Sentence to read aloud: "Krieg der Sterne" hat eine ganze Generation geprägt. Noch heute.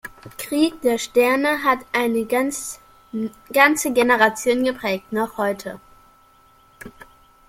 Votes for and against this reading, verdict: 0, 2, rejected